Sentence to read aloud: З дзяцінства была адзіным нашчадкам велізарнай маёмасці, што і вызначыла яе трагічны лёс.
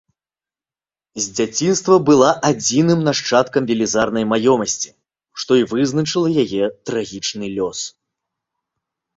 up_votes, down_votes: 2, 0